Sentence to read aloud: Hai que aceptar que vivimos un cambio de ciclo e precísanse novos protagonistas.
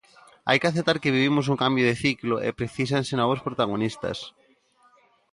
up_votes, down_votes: 2, 0